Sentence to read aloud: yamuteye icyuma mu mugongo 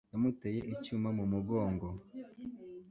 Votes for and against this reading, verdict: 2, 0, accepted